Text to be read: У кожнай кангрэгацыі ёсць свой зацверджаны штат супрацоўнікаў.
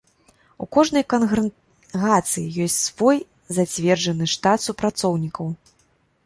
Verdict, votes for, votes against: rejected, 1, 2